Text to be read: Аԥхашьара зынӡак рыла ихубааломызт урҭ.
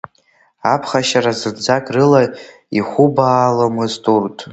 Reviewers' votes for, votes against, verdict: 2, 1, accepted